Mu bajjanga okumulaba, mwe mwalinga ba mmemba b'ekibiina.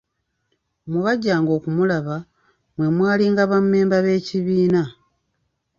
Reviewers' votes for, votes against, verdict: 1, 2, rejected